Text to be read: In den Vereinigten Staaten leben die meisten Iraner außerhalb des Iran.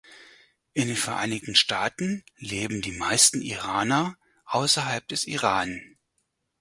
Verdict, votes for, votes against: accepted, 4, 0